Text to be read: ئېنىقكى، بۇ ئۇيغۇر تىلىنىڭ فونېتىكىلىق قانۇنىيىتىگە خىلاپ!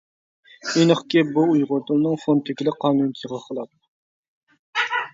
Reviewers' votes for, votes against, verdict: 0, 2, rejected